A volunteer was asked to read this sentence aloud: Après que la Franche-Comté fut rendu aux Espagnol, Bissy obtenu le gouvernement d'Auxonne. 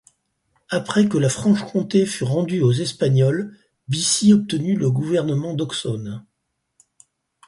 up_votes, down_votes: 4, 0